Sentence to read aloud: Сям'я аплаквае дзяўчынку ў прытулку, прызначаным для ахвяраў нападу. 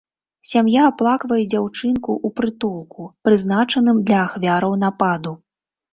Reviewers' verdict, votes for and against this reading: accepted, 2, 0